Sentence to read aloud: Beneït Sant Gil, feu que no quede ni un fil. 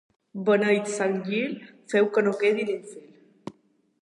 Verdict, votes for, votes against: rejected, 0, 2